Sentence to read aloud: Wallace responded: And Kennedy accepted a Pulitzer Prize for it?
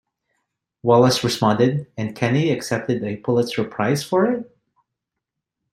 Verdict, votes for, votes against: rejected, 0, 2